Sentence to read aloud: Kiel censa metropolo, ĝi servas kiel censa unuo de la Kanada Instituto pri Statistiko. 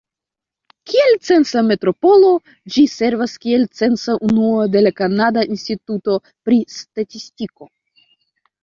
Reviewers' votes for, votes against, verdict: 2, 0, accepted